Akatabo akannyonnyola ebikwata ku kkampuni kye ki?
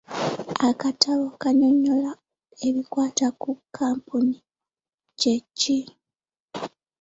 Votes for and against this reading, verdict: 1, 2, rejected